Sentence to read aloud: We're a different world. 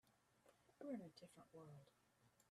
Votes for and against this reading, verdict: 2, 4, rejected